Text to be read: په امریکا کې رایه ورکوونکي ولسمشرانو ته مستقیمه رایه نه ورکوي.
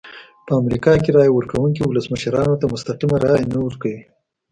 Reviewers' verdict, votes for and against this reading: accepted, 2, 0